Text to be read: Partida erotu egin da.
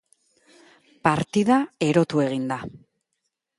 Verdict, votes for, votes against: accepted, 2, 0